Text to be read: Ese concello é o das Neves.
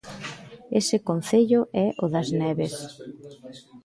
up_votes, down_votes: 2, 1